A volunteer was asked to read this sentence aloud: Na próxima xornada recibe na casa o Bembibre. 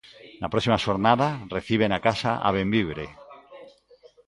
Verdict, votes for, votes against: rejected, 0, 2